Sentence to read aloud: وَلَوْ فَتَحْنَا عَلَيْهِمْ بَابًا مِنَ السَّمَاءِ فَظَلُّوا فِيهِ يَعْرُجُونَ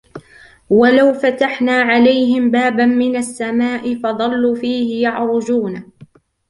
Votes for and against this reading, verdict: 2, 1, accepted